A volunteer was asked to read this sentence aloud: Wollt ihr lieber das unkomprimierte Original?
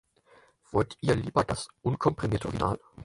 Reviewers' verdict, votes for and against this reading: rejected, 0, 4